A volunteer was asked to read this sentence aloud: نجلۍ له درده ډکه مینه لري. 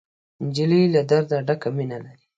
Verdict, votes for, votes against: accepted, 2, 0